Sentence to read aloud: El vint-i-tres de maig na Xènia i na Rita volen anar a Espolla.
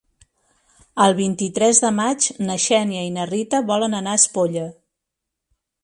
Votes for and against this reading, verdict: 3, 0, accepted